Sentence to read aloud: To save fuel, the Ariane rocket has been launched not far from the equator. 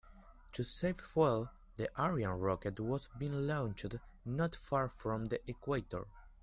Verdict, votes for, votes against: rejected, 1, 2